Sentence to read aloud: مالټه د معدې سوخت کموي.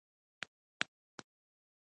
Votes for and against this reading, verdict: 1, 2, rejected